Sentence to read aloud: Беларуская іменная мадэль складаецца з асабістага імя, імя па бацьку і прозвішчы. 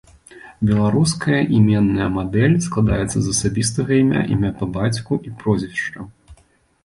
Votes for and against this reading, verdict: 2, 0, accepted